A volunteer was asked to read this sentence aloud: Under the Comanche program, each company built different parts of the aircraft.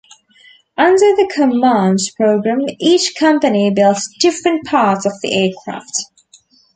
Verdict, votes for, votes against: rejected, 1, 2